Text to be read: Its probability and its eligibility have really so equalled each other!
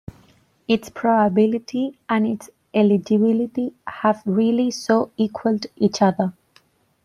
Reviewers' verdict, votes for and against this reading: rejected, 1, 2